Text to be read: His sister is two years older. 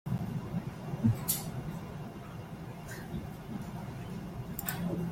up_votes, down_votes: 0, 2